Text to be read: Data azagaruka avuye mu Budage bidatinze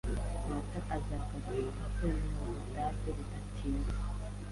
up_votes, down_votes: 1, 2